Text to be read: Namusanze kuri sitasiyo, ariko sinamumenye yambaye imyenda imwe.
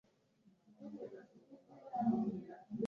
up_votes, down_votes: 0, 2